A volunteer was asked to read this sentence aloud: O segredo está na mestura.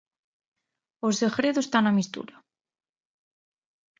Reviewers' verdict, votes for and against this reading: rejected, 0, 2